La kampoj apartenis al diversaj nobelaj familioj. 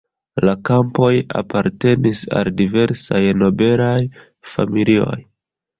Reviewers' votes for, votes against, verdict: 1, 2, rejected